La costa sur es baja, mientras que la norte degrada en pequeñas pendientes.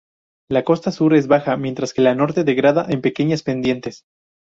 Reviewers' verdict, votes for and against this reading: rejected, 0, 2